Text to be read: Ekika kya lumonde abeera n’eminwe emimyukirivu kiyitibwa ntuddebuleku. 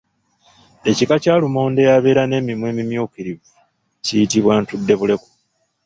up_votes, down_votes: 1, 2